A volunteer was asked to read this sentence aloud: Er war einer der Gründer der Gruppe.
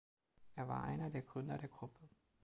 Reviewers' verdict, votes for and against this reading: accepted, 2, 0